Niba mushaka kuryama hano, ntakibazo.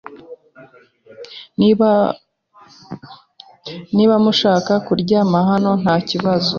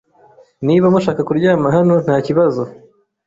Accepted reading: second